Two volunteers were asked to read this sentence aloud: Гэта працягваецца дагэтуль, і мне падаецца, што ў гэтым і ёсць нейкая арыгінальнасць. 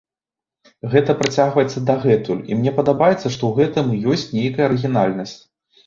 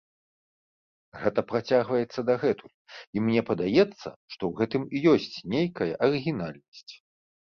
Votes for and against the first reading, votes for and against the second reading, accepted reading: 0, 2, 2, 0, second